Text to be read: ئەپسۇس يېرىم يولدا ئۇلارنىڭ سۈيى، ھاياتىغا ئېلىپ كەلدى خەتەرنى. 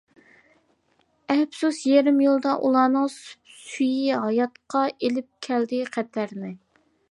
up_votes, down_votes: 0, 2